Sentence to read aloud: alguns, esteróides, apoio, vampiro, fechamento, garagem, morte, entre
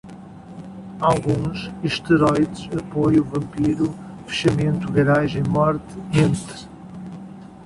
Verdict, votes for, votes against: accepted, 2, 0